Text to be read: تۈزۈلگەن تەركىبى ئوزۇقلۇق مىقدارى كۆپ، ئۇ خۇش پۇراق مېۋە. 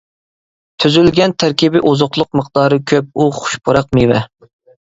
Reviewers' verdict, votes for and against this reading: accepted, 2, 0